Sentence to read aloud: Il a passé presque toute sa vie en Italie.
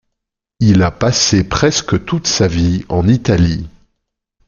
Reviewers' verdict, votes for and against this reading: accepted, 2, 0